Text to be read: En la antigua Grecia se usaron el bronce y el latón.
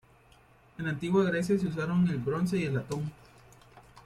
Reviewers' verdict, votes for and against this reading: accepted, 2, 1